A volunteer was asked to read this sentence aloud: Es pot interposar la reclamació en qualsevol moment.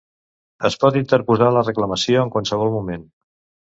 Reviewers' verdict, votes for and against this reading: rejected, 1, 2